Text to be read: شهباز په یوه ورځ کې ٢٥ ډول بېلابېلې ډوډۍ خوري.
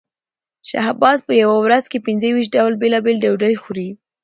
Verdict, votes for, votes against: rejected, 0, 2